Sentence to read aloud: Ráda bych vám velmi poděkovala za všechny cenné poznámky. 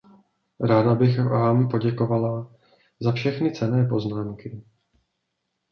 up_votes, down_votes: 1, 2